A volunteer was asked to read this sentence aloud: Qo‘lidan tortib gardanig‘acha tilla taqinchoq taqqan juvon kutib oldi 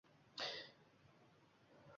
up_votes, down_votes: 1, 2